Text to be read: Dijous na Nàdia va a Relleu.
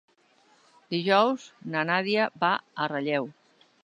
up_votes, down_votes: 2, 0